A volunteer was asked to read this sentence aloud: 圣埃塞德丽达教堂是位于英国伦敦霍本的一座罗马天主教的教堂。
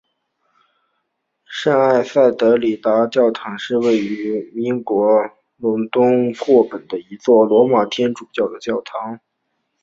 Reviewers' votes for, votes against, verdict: 3, 0, accepted